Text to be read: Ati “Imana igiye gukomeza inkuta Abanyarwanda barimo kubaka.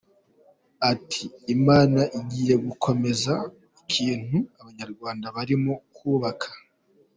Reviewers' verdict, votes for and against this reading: rejected, 1, 2